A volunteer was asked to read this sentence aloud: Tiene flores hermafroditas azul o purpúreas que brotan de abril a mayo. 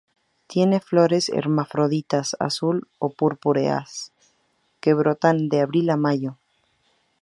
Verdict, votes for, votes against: rejected, 0, 2